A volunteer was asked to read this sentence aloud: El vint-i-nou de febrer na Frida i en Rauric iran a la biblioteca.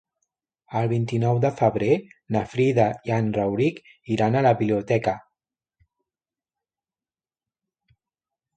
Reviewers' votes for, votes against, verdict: 1, 2, rejected